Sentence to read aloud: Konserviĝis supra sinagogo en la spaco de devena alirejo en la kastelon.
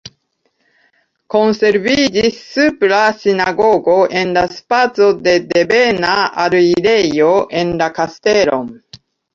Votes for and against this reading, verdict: 0, 2, rejected